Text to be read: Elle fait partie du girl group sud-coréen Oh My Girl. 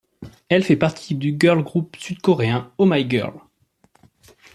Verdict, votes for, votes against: accepted, 2, 0